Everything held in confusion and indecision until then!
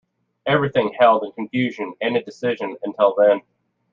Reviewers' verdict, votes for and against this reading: accepted, 2, 0